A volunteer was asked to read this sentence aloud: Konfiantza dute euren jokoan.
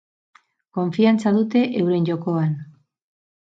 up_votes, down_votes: 4, 0